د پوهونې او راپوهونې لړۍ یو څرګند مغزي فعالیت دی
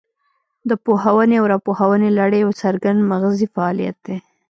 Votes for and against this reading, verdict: 1, 2, rejected